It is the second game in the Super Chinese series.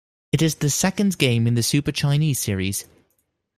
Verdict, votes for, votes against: rejected, 1, 2